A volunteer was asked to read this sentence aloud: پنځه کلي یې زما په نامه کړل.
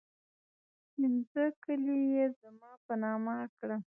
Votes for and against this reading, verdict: 0, 2, rejected